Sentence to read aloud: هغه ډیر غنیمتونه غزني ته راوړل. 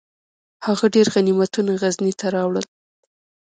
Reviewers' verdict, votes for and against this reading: accepted, 2, 1